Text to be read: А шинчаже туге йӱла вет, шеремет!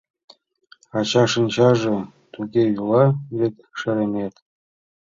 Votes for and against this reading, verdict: 0, 2, rejected